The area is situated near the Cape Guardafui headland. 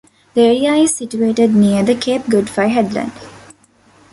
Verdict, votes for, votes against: accepted, 2, 1